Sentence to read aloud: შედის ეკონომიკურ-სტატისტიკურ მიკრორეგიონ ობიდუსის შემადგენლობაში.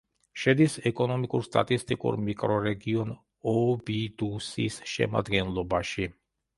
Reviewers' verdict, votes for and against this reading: accepted, 2, 1